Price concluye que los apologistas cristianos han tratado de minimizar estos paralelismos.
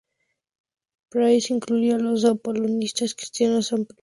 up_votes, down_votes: 0, 2